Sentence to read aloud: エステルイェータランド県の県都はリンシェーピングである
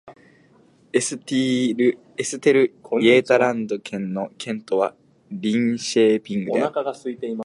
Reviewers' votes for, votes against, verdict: 1, 3, rejected